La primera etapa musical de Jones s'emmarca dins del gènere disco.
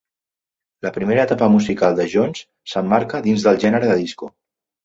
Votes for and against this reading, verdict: 1, 2, rejected